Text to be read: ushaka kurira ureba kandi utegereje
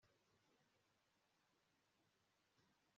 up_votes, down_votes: 0, 2